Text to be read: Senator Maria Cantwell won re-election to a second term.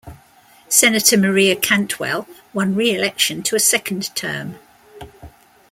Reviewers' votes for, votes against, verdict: 2, 0, accepted